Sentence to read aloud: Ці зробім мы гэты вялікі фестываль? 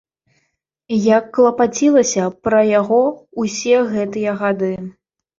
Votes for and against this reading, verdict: 1, 2, rejected